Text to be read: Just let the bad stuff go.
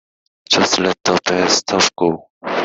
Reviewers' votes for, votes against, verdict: 2, 3, rejected